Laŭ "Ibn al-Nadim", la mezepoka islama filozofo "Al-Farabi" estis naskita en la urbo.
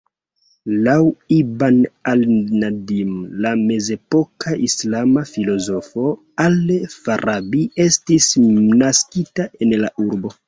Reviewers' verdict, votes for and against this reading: rejected, 0, 2